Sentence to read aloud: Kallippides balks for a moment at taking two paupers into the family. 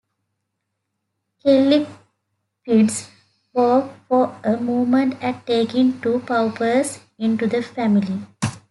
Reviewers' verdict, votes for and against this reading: rejected, 0, 2